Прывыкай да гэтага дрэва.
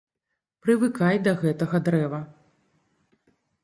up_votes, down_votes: 2, 0